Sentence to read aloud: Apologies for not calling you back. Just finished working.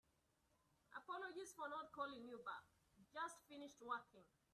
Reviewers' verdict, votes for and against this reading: accepted, 2, 0